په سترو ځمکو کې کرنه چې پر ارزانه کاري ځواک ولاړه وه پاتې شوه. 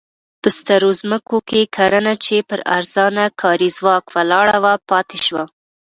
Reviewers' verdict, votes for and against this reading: accepted, 2, 0